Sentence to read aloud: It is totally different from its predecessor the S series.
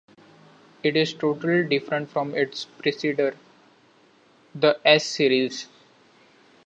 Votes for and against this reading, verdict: 1, 2, rejected